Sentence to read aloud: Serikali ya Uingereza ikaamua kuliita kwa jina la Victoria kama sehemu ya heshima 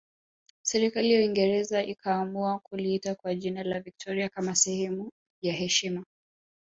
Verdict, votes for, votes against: accepted, 2, 0